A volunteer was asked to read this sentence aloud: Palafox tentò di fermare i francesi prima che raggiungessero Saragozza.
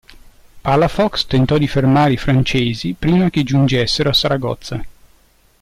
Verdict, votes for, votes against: rejected, 0, 2